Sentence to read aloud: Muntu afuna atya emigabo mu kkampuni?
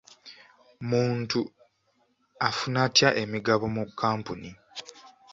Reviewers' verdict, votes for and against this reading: accepted, 2, 0